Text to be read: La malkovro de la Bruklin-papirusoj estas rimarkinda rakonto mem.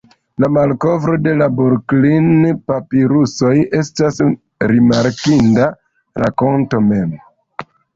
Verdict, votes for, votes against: rejected, 1, 2